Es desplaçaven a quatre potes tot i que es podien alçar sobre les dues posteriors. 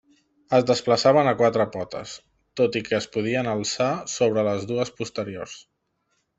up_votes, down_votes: 3, 0